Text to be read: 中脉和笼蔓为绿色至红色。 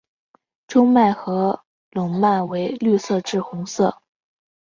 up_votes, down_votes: 2, 0